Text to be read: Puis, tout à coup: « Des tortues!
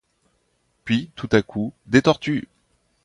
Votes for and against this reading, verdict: 2, 0, accepted